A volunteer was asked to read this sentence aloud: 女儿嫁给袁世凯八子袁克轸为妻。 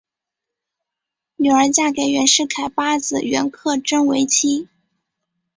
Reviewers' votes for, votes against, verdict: 6, 1, accepted